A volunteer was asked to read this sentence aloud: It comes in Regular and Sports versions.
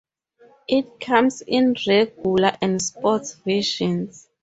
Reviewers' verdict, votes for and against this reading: accepted, 2, 0